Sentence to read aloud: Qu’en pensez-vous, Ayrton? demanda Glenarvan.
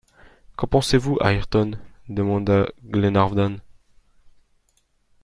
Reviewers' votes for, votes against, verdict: 0, 2, rejected